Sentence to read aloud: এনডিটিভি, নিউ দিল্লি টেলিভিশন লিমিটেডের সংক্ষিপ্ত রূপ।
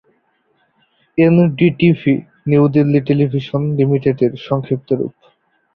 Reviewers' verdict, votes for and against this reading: accepted, 2, 0